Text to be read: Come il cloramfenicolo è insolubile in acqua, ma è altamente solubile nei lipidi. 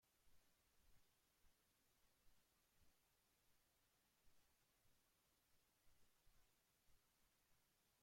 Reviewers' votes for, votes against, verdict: 0, 2, rejected